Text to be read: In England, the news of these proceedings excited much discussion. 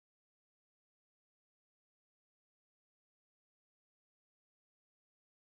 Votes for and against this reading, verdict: 0, 2, rejected